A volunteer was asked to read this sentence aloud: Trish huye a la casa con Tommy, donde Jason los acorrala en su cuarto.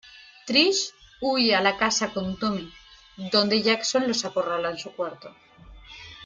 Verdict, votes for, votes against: accepted, 2, 0